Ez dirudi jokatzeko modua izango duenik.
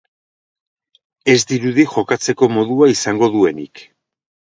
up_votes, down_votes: 2, 0